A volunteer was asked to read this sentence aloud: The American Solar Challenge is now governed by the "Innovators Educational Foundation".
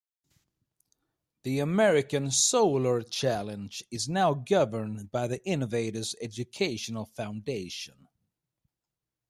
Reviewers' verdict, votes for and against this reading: accepted, 2, 0